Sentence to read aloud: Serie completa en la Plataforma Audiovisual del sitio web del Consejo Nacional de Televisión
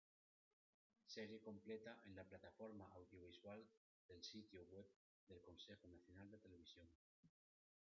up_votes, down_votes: 1, 2